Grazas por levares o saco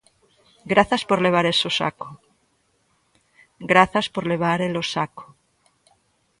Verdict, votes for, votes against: rejected, 0, 2